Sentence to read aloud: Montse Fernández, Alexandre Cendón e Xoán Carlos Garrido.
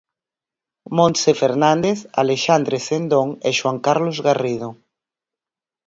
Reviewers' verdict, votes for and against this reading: accepted, 4, 0